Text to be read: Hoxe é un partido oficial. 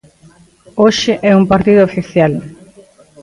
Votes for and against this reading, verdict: 2, 0, accepted